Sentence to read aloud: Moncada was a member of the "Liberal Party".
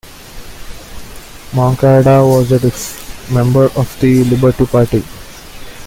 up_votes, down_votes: 1, 2